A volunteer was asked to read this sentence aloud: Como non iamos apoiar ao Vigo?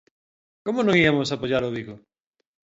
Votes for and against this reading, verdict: 1, 2, rejected